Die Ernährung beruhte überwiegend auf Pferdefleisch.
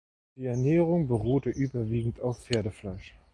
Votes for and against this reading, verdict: 2, 0, accepted